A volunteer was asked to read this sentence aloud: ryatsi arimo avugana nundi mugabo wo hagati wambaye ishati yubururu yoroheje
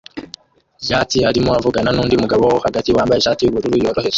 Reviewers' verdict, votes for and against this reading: rejected, 1, 2